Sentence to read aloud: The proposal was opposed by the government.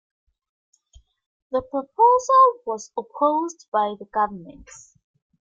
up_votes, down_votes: 2, 0